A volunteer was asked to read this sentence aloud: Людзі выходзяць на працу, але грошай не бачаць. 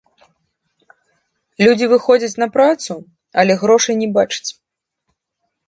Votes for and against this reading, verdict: 0, 2, rejected